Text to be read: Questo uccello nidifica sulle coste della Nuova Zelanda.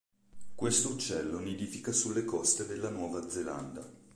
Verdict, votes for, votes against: accepted, 3, 0